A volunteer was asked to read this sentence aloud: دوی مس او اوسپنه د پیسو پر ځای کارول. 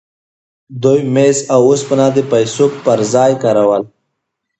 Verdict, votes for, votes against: accepted, 2, 0